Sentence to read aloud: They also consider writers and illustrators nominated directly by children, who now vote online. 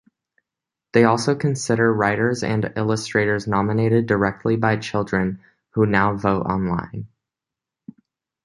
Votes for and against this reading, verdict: 2, 0, accepted